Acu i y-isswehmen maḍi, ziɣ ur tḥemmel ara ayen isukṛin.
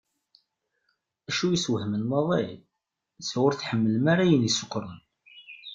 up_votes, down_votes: 1, 2